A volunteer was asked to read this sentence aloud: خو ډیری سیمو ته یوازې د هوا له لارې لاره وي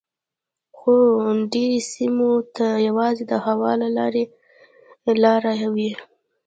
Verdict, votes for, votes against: rejected, 1, 2